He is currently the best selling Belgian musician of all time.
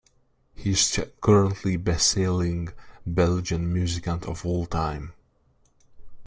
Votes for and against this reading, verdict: 1, 3, rejected